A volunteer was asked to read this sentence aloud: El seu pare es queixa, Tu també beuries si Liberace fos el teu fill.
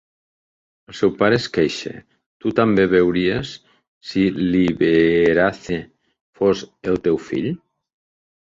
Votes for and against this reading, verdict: 0, 2, rejected